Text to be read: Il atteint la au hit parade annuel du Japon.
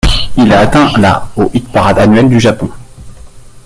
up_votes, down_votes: 0, 2